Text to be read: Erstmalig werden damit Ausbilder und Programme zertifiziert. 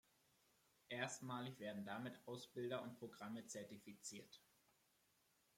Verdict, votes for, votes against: rejected, 1, 2